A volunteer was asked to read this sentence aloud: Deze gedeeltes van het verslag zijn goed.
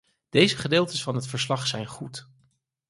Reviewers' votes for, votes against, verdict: 4, 0, accepted